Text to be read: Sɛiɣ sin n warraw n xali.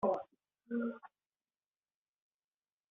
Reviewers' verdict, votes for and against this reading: rejected, 0, 2